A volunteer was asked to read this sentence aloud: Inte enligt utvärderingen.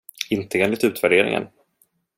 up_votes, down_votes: 1, 2